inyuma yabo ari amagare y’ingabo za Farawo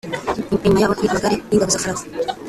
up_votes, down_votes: 0, 2